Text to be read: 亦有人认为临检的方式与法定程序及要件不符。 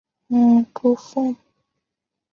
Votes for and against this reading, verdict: 1, 2, rejected